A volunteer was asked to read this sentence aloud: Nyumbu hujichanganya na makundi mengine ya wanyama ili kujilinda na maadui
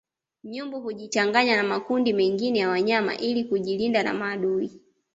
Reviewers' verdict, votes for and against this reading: accepted, 2, 0